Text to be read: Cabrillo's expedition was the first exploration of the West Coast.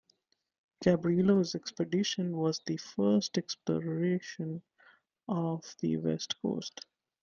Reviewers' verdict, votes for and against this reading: rejected, 0, 2